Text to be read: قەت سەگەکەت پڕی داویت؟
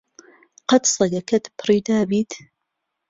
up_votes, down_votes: 3, 0